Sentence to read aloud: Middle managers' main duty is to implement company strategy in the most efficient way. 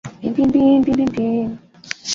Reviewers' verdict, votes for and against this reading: rejected, 0, 2